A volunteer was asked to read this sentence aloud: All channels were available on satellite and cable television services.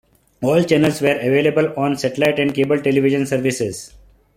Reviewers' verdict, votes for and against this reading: accepted, 2, 1